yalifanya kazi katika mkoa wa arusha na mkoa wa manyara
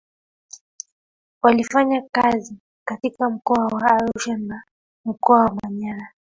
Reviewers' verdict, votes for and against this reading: accepted, 3, 2